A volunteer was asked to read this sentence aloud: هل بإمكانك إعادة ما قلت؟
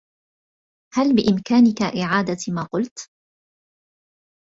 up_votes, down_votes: 2, 1